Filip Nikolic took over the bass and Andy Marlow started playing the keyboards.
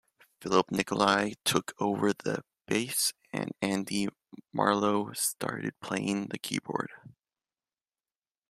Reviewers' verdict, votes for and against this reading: accepted, 2, 1